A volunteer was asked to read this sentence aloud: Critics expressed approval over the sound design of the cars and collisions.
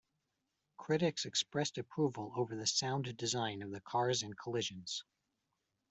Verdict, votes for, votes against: rejected, 0, 2